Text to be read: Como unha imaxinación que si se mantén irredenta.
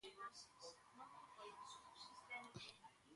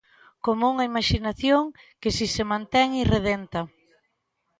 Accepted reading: second